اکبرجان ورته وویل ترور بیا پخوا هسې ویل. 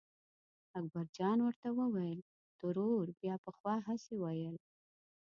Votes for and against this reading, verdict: 1, 2, rejected